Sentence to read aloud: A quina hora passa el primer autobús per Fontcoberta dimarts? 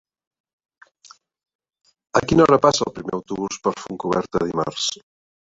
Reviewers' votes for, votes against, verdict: 1, 2, rejected